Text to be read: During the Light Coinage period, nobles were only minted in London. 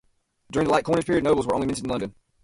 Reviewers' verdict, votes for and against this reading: rejected, 0, 2